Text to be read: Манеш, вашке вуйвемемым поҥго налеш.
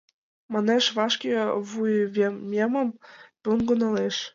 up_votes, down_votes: 2, 0